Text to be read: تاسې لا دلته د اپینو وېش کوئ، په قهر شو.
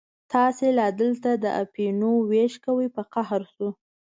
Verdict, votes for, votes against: accepted, 2, 0